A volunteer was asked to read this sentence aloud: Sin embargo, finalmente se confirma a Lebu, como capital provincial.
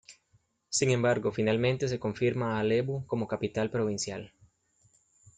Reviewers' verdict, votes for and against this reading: accepted, 2, 0